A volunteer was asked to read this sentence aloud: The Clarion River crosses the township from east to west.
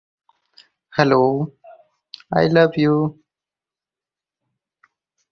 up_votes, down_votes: 0, 4